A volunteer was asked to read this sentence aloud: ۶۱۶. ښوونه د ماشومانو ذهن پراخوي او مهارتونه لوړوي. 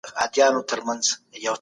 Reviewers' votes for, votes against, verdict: 0, 2, rejected